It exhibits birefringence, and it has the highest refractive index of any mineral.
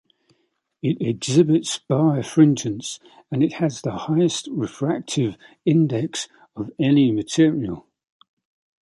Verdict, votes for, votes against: rejected, 0, 2